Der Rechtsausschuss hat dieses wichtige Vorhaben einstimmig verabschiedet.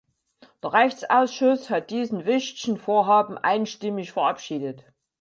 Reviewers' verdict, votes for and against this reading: rejected, 0, 4